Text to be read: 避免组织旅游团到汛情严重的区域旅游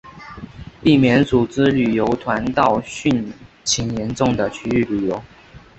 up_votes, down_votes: 2, 1